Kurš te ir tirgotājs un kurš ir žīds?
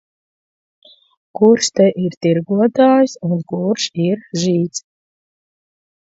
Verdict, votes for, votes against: accepted, 2, 0